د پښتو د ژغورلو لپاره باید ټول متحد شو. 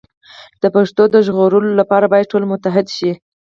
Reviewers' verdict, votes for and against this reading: accepted, 4, 0